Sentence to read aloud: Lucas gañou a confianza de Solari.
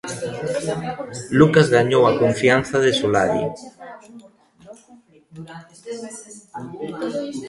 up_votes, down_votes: 0, 2